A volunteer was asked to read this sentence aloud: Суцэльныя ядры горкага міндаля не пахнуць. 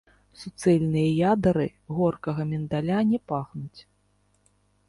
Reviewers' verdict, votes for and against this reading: rejected, 1, 3